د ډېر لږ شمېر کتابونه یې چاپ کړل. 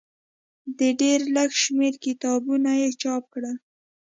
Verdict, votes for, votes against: accepted, 2, 0